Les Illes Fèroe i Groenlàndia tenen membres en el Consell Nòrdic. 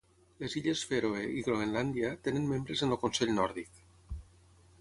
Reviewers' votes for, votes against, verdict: 6, 0, accepted